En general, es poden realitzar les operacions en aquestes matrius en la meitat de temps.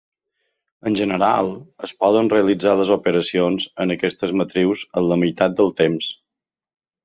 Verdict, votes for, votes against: accepted, 3, 1